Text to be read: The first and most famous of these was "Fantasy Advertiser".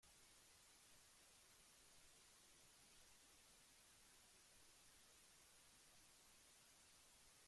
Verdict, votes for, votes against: rejected, 0, 2